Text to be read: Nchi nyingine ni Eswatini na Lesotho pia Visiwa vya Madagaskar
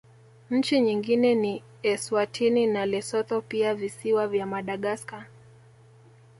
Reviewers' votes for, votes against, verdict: 2, 0, accepted